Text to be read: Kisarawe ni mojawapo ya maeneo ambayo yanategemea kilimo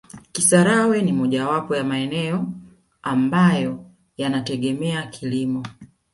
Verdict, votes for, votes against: accepted, 2, 1